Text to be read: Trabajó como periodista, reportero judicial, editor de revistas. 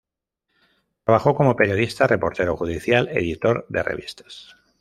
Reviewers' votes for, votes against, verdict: 1, 2, rejected